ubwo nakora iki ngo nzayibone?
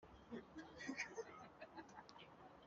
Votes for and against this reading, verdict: 2, 0, accepted